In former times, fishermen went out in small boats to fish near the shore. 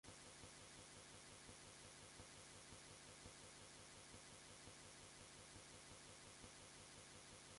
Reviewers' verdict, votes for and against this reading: rejected, 1, 2